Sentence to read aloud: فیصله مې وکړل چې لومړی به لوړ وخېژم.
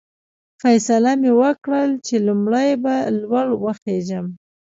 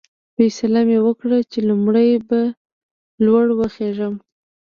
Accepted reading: first